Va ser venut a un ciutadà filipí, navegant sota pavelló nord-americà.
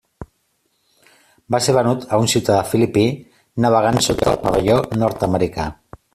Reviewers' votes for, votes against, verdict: 1, 2, rejected